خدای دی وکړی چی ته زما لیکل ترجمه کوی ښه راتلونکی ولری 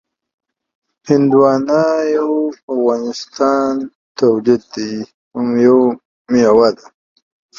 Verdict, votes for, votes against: rejected, 1, 2